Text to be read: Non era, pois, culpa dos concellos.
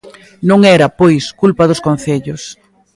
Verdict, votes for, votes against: accepted, 3, 0